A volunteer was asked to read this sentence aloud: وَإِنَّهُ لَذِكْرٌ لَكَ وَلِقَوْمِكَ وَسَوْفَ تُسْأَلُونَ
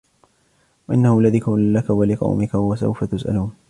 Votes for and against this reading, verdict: 1, 2, rejected